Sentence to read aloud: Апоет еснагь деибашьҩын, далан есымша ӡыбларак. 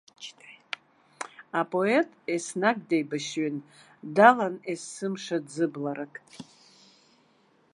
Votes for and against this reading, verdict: 2, 0, accepted